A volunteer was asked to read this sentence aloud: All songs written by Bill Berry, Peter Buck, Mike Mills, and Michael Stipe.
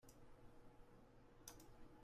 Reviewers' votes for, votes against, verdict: 0, 2, rejected